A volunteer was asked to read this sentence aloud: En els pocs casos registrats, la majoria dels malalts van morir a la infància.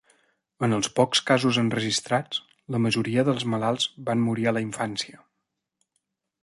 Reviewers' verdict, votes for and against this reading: rejected, 0, 2